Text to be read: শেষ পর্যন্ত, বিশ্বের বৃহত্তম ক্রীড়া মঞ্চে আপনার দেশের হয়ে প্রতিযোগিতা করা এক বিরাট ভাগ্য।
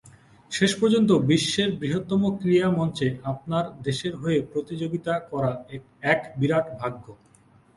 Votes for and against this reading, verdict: 13, 1, accepted